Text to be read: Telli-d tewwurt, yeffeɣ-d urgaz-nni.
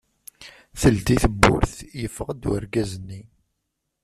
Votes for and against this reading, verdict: 0, 2, rejected